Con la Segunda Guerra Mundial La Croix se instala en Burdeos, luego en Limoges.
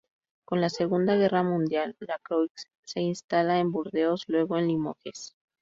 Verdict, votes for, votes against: rejected, 0, 2